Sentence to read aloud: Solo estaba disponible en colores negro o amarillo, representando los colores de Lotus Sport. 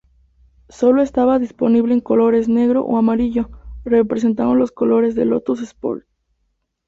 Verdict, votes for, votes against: rejected, 0, 2